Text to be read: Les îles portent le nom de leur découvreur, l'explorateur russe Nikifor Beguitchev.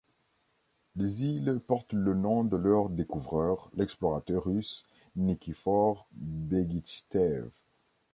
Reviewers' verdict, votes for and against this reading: rejected, 0, 2